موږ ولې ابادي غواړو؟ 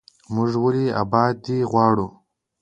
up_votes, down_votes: 2, 0